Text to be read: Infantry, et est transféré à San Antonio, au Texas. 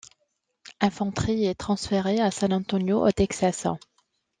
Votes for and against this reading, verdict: 1, 2, rejected